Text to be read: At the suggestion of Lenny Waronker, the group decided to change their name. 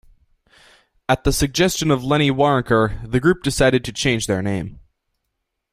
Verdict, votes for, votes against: accepted, 2, 0